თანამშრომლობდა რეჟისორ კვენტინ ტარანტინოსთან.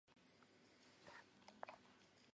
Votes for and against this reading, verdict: 1, 2, rejected